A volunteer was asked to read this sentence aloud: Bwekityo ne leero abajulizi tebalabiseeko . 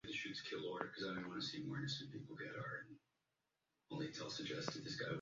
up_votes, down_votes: 0, 2